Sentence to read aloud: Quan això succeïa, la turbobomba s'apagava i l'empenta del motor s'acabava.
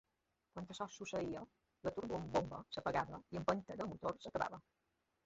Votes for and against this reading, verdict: 0, 2, rejected